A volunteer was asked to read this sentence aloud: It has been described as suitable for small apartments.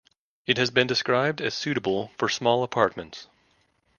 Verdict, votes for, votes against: accepted, 2, 0